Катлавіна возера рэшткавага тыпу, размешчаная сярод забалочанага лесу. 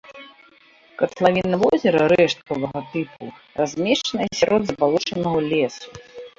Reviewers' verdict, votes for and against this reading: rejected, 1, 2